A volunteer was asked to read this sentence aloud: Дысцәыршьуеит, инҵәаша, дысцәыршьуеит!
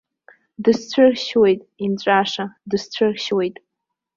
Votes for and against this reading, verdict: 2, 0, accepted